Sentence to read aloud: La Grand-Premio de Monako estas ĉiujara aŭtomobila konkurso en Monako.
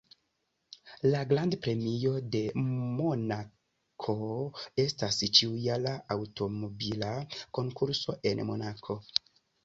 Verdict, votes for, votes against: rejected, 0, 2